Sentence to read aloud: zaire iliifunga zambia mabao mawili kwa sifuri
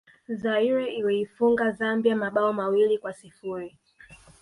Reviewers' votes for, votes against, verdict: 2, 1, accepted